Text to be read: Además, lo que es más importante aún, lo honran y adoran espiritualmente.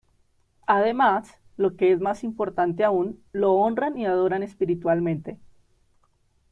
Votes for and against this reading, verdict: 3, 2, accepted